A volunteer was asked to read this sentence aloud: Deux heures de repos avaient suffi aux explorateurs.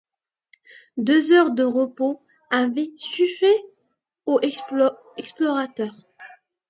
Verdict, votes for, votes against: rejected, 1, 2